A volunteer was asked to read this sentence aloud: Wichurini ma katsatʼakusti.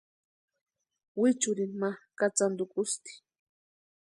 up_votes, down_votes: 0, 2